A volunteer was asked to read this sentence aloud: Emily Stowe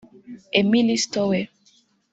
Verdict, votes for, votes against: rejected, 0, 2